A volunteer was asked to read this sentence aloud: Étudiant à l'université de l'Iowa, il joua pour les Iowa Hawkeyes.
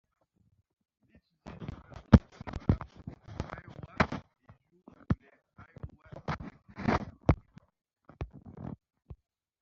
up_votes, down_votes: 0, 2